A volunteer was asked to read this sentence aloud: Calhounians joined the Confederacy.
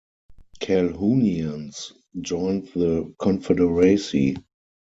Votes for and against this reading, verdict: 0, 4, rejected